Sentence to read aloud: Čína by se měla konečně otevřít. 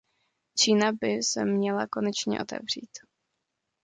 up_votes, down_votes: 2, 0